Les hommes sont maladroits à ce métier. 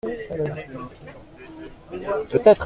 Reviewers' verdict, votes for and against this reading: rejected, 0, 2